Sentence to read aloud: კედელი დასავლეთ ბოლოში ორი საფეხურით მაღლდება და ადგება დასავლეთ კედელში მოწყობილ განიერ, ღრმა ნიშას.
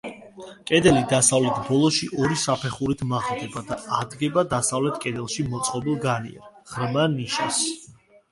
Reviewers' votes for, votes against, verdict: 2, 0, accepted